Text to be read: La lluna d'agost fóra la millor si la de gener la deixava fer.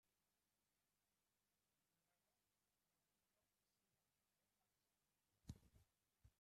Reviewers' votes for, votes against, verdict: 0, 2, rejected